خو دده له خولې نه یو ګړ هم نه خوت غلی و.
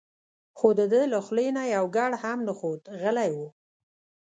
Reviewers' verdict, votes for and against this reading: accepted, 2, 0